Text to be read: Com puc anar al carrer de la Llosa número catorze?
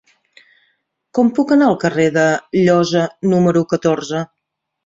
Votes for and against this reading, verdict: 1, 2, rejected